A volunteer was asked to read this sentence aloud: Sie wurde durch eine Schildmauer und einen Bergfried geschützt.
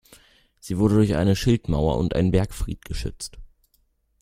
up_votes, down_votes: 2, 0